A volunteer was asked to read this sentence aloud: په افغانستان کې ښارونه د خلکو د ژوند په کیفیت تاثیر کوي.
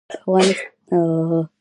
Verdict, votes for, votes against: rejected, 1, 2